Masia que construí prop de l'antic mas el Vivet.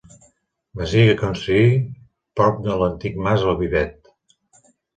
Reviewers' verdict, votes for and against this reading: rejected, 0, 2